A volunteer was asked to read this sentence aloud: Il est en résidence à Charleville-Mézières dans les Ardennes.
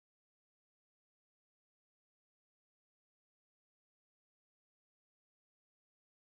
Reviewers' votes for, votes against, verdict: 0, 2, rejected